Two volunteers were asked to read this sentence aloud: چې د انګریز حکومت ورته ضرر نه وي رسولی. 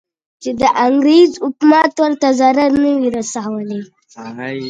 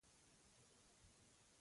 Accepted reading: first